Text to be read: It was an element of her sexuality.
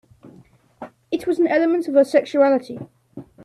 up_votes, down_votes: 2, 0